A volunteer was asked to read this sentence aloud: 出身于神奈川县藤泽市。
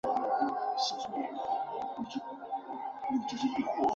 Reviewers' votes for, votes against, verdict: 0, 4, rejected